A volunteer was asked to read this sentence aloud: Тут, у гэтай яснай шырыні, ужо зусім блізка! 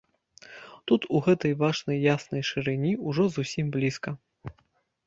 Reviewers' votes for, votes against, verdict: 0, 2, rejected